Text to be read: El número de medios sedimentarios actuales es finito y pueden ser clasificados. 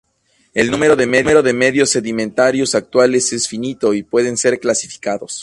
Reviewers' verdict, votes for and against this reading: rejected, 0, 2